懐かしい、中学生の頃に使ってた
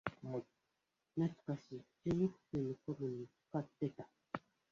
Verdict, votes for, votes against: rejected, 0, 2